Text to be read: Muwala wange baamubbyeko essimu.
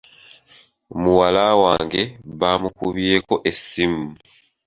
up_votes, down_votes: 1, 2